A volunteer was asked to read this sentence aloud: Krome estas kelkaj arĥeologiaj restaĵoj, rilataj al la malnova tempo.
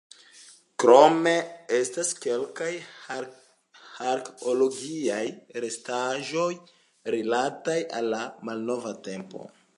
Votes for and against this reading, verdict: 1, 2, rejected